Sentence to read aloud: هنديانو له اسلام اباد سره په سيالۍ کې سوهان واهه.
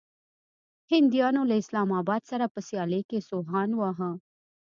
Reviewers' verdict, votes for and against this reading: accepted, 2, 0